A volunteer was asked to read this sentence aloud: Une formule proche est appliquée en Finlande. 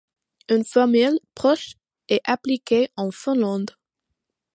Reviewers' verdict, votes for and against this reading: accepted, 2, 1